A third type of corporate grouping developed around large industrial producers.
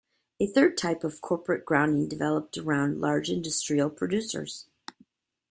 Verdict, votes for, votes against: rejected, 0, 2